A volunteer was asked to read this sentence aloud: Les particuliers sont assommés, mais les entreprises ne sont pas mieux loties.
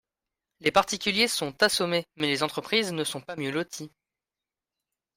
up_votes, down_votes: 2, 0